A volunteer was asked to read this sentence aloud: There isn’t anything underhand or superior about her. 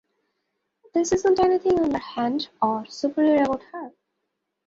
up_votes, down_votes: 0, 2